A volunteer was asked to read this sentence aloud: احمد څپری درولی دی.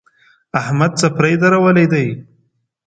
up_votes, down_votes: 2, 0